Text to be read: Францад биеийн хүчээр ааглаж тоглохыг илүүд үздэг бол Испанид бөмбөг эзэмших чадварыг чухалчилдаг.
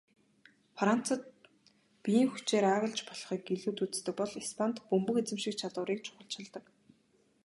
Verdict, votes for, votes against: rejected, 1, 2